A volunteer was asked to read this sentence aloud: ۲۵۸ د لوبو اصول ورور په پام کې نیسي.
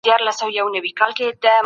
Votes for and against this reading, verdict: 0, 2, rejected